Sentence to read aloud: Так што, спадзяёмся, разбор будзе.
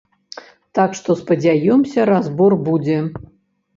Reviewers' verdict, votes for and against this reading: accepted, 2, 0